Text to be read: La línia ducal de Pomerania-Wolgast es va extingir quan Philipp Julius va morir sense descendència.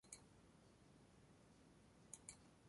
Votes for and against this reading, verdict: 1, 2, rejected